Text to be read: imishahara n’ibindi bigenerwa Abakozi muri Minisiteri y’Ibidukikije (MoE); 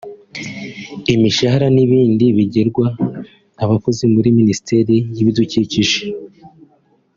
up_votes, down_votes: 0, 2